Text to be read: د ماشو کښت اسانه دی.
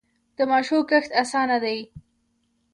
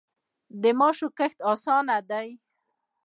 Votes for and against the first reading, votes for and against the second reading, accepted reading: 2, 1, 0, 2, first